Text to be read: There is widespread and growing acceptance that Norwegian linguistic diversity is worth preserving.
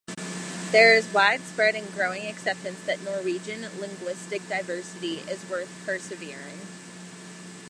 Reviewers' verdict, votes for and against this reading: rejected, 0, 2